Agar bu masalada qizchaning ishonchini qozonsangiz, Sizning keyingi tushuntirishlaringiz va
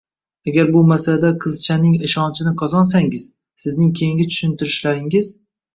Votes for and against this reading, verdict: 1, 2, rejected